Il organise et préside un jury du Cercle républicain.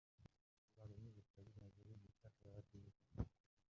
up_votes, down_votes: 0, 2